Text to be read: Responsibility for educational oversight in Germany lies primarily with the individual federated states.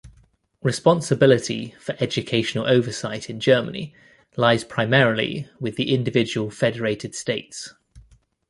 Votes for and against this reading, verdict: 2, 0, accepted